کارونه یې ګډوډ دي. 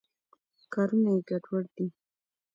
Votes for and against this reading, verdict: 1, 2, rejected